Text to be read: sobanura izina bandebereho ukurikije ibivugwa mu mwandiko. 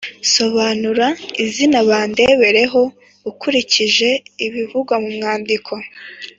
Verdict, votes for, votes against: accepted, 2, 0